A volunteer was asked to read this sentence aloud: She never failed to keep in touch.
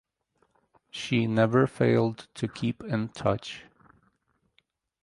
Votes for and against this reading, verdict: 4, 0, accepted